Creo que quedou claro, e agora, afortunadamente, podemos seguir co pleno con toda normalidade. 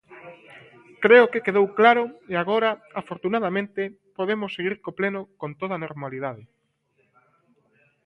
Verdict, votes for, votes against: accepted, 2, 0